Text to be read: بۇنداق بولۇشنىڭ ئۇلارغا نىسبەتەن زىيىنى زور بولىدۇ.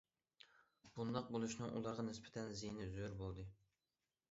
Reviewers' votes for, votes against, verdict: 0, 2, rejected